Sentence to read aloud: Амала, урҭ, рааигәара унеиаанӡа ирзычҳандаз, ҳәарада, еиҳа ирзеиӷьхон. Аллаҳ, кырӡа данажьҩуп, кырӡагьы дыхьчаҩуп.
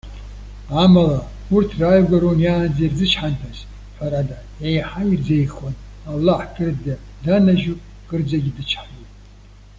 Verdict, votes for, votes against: rejected, 1, 2